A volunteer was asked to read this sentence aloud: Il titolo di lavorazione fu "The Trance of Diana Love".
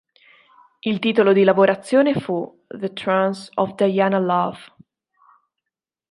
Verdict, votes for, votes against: accepted, 2, 1